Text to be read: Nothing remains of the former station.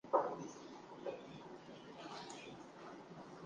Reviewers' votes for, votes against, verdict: 0, 2, rejected